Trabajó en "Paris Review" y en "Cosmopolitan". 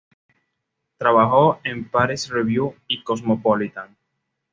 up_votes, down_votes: 2, 0